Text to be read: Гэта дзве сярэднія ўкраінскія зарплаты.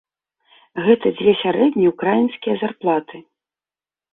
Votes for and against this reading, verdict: 0, 2, rejected